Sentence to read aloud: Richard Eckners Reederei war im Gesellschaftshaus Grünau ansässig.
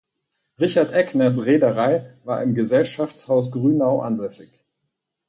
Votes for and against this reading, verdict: 4, 0, accepted